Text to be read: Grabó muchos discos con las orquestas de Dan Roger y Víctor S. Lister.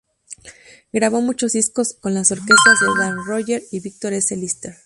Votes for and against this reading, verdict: 0, 2, rejected